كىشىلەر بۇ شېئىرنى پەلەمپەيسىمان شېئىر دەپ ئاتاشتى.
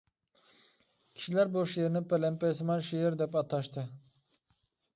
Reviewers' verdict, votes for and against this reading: accepted, 2, 0